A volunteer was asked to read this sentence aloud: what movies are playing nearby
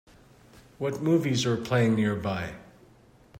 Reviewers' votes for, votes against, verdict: 2, 0, accepted